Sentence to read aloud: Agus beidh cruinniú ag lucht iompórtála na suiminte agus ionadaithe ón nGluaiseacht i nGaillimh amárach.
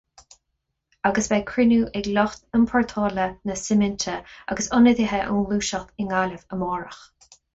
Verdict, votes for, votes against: accepted, 2, 0